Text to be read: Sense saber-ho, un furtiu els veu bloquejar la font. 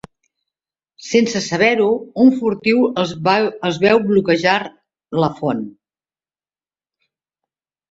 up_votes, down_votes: 0, 3